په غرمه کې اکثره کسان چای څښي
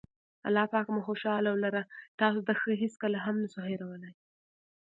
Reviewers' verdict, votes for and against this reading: rejected, 0, 2